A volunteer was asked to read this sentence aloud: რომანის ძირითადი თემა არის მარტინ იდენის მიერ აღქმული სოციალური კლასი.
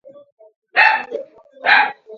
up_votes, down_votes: 0, 2